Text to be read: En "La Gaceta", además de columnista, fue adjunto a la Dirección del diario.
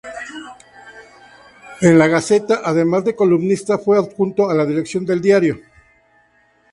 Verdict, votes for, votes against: accepted, 2, 0